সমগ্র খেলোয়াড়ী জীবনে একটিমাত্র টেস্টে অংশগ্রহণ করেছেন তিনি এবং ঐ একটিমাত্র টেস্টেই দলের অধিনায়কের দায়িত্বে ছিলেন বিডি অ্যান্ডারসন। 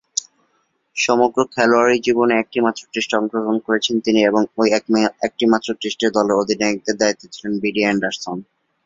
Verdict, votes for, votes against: accepted, 2, 0